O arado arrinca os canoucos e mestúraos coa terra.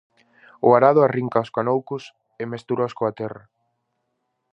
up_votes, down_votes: 4, 0